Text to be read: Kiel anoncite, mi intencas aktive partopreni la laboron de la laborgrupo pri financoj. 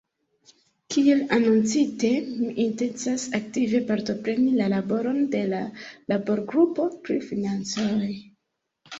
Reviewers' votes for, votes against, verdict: 3, 0, accepted